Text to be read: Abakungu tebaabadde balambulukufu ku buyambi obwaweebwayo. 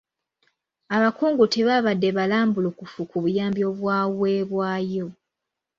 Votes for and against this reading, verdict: 2, 0, accepted